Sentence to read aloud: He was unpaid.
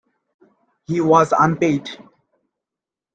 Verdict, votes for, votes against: accepted, 2, 1